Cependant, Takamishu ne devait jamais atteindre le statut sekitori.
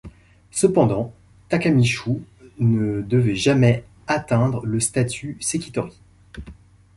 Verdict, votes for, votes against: accepted, 2, 0